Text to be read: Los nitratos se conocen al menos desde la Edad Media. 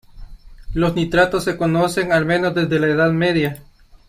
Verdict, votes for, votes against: accepted, 2, 0